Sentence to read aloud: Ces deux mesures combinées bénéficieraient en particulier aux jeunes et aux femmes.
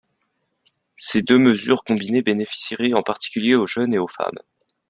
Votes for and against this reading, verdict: 2, 0, accepted